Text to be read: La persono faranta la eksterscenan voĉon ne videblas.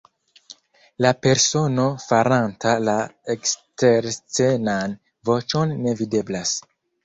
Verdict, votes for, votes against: rejected, 1, 2